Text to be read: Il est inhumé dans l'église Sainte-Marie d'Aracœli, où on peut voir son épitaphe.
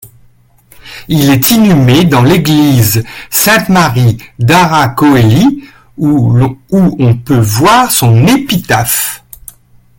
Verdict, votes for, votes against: rejected, 1, 2